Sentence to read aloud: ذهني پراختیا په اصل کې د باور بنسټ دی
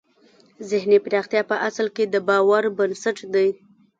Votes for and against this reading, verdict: 0, 2, rejected